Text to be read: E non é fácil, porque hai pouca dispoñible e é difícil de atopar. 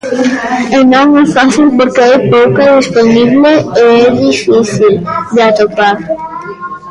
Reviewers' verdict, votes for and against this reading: rejected, 1, 2